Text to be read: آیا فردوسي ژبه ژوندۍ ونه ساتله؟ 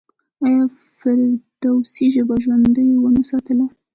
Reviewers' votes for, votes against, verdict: 4, 1, accepted